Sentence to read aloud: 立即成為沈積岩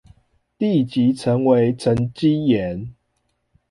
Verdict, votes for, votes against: accepted, 2, 1